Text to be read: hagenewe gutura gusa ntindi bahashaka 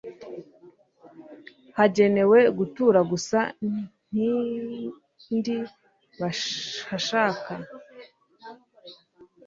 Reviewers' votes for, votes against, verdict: 1, 2, rejected